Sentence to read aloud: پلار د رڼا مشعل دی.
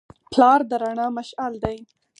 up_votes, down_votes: 4, 0